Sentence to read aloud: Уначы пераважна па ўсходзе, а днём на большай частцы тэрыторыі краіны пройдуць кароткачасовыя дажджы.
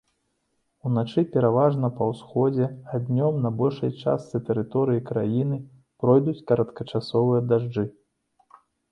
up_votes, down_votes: 2, 0